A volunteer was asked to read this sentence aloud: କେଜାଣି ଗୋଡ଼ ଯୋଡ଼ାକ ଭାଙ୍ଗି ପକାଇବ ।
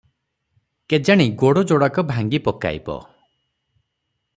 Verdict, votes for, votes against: accepted, 6, 0